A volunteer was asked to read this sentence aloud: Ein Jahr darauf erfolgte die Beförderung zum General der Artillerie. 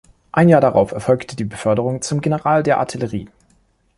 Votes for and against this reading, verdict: 3, 0, accepted